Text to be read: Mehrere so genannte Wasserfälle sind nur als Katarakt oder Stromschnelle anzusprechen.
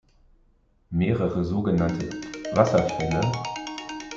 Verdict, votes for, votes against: rejected, 0, 2